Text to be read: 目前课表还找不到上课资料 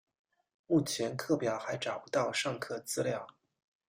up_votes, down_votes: 2, 0